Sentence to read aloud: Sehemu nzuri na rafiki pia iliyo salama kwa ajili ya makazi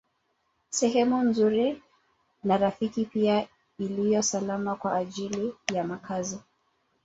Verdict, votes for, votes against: accepted, 3, 1